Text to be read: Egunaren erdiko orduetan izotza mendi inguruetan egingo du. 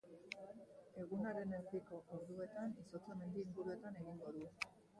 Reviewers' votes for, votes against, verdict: 0, 3, rejected